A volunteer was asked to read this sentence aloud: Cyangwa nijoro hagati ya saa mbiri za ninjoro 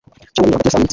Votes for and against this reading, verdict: 0, 2, rejected